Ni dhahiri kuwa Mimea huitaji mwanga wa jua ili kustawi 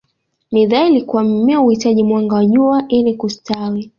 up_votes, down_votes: 1, 2